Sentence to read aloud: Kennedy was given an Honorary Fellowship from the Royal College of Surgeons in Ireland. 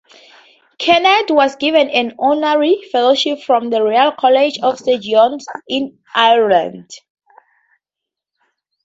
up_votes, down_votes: 0, 4